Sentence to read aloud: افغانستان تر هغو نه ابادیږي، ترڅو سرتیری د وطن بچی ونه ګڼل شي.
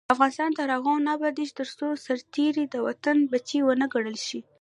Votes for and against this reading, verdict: 0, 2, rejected